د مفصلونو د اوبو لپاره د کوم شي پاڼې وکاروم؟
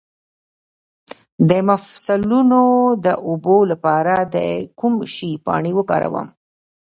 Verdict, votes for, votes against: accepted, 2, 1